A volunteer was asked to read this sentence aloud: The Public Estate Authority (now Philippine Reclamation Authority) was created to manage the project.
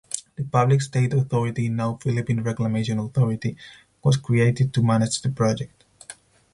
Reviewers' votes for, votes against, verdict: 2, 4, rejected